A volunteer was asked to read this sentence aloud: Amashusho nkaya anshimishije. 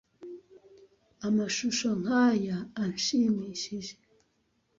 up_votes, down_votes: 2, 0